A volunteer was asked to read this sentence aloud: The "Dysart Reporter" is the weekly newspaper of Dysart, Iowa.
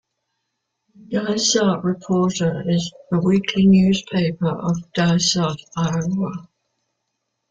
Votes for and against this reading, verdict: 2, 3, rejected